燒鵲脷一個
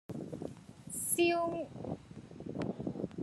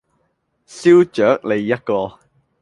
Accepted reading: second